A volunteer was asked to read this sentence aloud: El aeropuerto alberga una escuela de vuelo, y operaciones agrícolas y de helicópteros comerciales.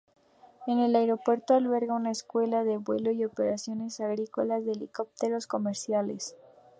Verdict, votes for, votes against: rejected, 0, 2